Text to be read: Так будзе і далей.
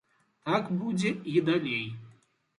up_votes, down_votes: 2, 0